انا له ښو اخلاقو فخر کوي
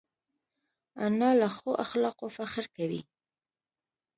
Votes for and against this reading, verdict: 2, 0, accepted